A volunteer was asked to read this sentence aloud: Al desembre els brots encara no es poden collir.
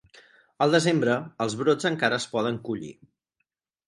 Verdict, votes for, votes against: rejected, 2, 4